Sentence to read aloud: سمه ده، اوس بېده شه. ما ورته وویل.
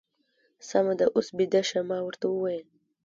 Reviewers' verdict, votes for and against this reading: accepted, 2, 0